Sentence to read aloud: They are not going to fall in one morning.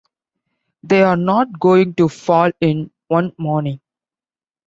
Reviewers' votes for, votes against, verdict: 2, 0, accepted